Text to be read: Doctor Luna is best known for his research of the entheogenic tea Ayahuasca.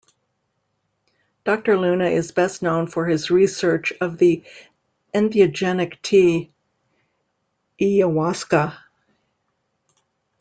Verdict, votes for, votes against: rejected, 0, 2